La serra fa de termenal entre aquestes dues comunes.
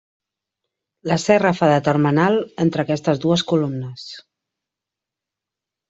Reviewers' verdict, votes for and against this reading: rejected, 1, 2